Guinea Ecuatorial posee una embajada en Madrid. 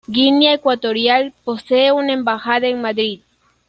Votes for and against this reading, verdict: 2, 1, accepted